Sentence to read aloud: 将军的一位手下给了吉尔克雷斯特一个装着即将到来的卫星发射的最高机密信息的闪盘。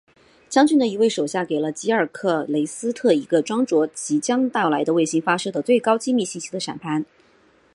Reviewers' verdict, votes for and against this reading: accepted, 2, 0